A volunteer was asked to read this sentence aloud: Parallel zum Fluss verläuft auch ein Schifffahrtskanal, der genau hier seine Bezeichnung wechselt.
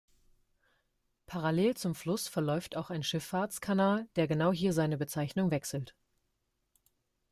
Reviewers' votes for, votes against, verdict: 2, 0, accepted